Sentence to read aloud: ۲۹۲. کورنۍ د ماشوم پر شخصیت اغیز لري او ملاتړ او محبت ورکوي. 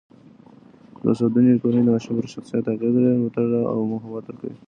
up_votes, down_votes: 0, 2